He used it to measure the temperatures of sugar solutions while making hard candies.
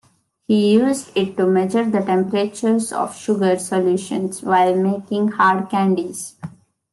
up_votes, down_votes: 2, 1